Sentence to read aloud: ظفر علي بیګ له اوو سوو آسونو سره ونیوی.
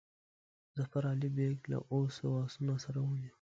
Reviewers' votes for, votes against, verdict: 1, 2, rejected